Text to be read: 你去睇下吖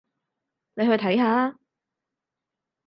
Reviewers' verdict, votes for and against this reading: accepted, 4, 0